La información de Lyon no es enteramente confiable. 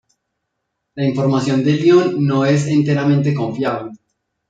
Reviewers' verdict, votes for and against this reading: accepted, 2, 0